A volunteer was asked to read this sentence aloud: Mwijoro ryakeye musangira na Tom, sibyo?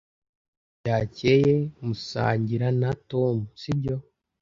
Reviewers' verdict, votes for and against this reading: rejected, 0, 2